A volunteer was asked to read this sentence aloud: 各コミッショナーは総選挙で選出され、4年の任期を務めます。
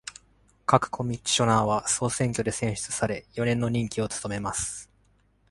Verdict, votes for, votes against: rejected, 0, 2